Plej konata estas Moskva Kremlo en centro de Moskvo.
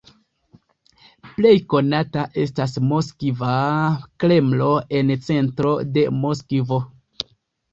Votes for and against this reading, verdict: 2, 0, accepted